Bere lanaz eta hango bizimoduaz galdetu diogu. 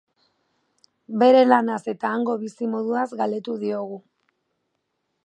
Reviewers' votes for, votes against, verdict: 2, 0, accepted